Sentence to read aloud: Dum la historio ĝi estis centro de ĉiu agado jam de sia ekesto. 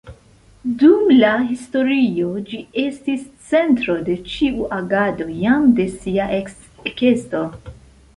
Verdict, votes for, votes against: rejected, 0, 2